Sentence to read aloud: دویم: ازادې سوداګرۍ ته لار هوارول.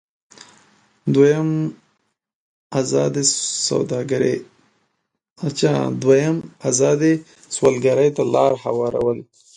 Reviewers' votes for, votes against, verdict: 0, 2, rejected